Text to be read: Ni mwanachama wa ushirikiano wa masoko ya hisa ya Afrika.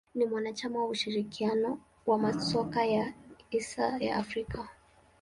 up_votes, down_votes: 1, 2